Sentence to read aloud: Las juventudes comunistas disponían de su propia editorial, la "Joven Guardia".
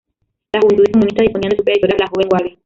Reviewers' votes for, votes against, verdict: 0, 2, rejected